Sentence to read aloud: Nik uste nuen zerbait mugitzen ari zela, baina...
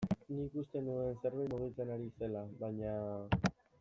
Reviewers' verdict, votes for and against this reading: accepted, 2, 0